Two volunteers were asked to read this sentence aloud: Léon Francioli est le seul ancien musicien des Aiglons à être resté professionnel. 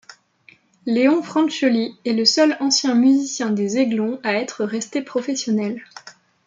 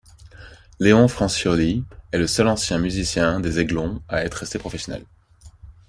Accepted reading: second